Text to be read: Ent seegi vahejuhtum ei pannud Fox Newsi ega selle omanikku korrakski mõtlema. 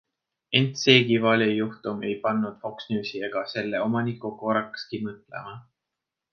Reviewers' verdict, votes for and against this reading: rejected, 1, 2